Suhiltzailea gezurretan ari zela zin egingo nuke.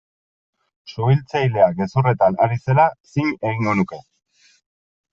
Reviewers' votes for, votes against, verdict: 3, 0, accepted